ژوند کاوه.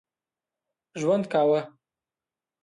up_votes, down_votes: 2, 0